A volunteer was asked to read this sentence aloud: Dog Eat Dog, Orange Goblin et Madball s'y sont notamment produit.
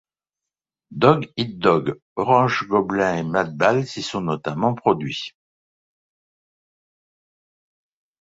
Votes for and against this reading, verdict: 2, 0, accepted